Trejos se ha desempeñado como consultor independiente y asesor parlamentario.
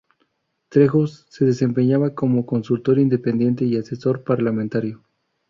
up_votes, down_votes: 0, 2